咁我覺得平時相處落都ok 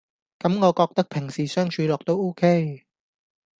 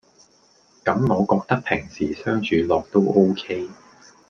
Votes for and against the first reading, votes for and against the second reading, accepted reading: 1, 2, 2, 0, second